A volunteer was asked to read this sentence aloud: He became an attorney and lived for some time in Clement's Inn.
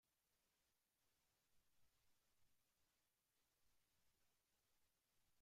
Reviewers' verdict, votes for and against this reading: rejected, 0, 2